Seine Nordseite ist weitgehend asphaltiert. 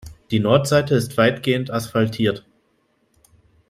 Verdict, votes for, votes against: rejected, 1, 2